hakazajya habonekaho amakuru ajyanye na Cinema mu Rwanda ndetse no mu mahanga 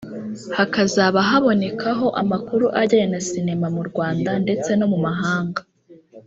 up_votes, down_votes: 1, 2